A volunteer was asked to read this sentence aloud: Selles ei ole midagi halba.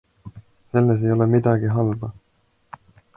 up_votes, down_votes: 2, 0